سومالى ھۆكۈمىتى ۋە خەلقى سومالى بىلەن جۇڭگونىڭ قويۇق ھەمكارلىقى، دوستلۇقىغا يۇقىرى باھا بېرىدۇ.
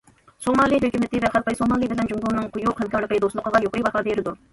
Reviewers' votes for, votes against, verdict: 0, 2, rejected